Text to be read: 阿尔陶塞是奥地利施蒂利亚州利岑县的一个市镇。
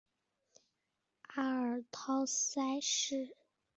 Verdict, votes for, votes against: rejected, 0, 5